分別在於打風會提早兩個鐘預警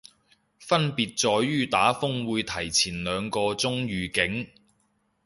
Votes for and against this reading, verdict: 2, 0, accepted